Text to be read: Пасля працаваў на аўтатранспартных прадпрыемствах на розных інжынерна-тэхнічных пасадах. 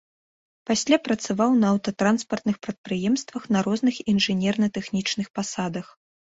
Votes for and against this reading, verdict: 2, 0, accepted